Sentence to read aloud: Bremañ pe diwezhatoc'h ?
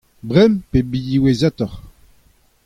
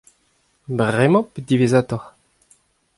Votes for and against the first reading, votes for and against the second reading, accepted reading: 0, 2, 2, 0, second